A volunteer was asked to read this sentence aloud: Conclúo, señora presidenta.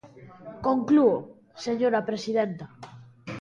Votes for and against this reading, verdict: 1, 2, rejected